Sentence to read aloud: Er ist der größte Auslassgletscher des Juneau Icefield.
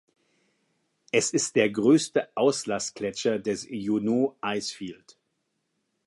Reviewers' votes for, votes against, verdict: 1, 2, rejected